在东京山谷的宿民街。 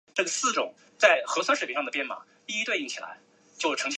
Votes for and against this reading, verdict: 0, 4, rejected